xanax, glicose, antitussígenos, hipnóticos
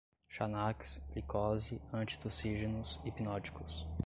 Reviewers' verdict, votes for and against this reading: accepted, 2, 0